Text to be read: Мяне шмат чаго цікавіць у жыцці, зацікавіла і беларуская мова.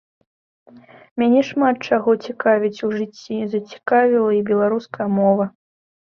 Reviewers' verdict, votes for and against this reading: accepted, 2, 0